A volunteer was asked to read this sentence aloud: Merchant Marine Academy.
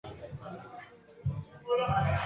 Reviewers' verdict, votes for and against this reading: rejected, 0, 2